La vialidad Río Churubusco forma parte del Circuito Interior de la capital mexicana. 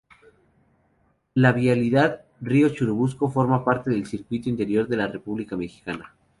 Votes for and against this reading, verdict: 0, 2, rejected